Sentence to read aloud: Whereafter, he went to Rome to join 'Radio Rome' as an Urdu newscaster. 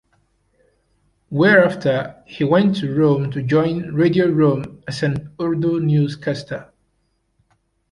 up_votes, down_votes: 2, 1